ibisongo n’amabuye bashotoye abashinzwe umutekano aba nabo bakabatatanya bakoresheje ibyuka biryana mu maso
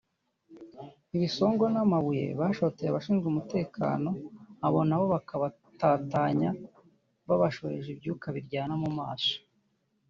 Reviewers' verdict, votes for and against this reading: rejected, 1, 2